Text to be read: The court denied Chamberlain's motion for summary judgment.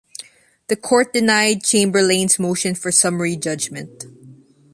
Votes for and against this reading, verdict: 2, 0, accepted